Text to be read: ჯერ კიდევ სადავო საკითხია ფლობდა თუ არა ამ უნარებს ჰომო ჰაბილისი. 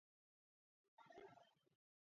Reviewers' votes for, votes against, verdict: 0, 2, rejected